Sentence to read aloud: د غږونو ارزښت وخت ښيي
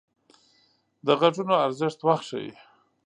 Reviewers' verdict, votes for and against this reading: accepted, 2, 0